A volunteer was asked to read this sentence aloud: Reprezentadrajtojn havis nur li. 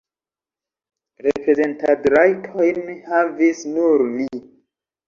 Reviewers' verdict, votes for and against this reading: rejected, 1, 2